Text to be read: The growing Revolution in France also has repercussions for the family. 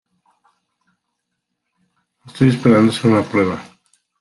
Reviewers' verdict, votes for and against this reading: rejected, 1, 2